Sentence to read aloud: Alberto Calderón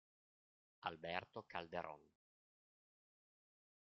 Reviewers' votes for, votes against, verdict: 2, 0, accepted